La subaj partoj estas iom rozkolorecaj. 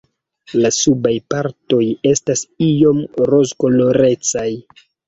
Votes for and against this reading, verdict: 2, 0, accepted